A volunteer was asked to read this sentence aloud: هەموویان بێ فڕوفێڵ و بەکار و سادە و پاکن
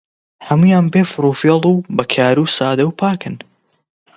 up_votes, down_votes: 20, 0